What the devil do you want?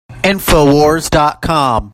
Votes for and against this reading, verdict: 0, 2, rejected